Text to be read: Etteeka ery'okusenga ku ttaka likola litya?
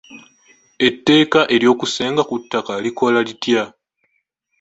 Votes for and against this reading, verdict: 2, 0, accepted